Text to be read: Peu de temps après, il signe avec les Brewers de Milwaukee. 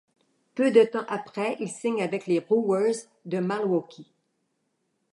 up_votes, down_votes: 0, 2